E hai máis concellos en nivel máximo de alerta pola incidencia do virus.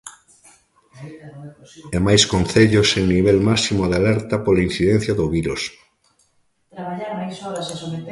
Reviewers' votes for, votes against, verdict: 0, 2, rejected